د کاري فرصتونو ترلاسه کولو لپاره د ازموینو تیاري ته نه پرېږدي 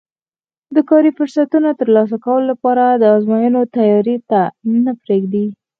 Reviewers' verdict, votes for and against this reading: rejected, 2, 4